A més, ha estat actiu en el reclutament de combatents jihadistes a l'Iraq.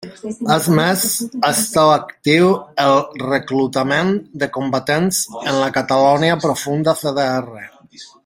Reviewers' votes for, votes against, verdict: 0, 2, rejected